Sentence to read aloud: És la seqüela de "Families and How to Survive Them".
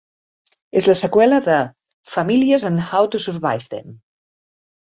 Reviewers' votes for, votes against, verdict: 1, 2, rejected